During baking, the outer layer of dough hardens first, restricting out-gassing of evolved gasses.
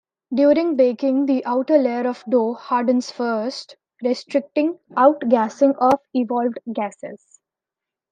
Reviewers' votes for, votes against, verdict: 2, 1, accepted